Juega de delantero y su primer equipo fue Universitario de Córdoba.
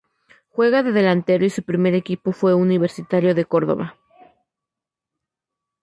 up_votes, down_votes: 2, 0